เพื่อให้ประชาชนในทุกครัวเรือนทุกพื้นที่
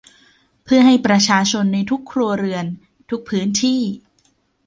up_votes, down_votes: 2, 0